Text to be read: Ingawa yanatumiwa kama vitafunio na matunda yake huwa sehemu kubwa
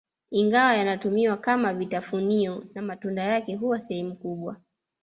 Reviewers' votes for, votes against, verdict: 2, 0, accepted